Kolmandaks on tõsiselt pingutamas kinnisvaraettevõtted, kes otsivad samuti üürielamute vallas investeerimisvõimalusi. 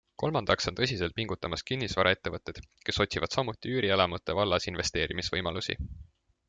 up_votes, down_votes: 2, 0